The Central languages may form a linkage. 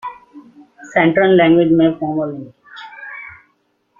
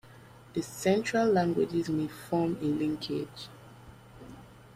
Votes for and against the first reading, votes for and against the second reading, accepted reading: 0, 2, 2, 0, second